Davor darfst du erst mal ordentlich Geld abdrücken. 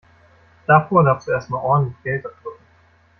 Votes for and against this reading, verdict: 0, 2, rejected